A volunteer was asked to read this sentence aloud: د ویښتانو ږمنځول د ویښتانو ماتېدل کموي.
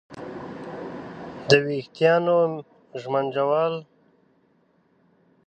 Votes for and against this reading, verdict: 1, 2, rejected